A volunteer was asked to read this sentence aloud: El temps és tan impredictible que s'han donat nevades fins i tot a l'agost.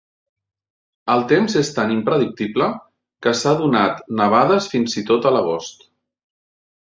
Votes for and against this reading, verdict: 0, 2, rejected